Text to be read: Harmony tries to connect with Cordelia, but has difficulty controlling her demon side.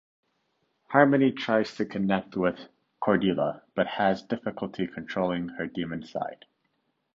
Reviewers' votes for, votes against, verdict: 2, 1, accepted